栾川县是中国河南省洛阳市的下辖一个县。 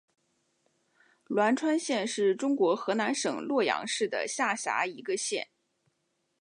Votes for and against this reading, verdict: 5, 2, accepted